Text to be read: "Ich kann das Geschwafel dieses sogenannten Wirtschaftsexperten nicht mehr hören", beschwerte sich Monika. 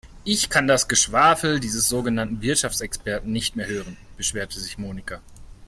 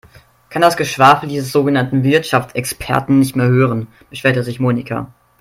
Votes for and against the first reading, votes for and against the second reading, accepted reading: 4, 0, 1, 2, first